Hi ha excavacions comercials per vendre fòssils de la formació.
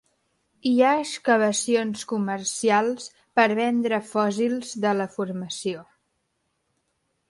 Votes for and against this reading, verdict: 2, 1, accepted